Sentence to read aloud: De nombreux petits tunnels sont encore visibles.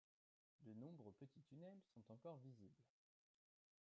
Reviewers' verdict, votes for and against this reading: accepted, 2, 1